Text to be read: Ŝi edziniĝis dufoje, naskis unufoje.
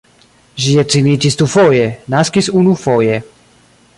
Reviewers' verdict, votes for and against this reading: rejected, 1, 2